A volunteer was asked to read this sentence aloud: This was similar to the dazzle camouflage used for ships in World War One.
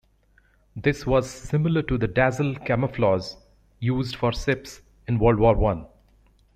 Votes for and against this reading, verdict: 1, 2, rejected